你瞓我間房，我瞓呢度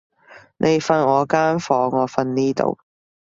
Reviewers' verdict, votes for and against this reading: accepted, 2, 0